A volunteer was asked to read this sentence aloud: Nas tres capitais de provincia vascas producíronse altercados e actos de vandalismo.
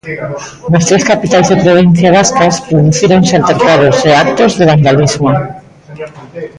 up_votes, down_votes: 0, 2